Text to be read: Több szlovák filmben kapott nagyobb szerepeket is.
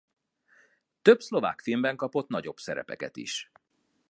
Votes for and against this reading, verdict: 2, 0, accepted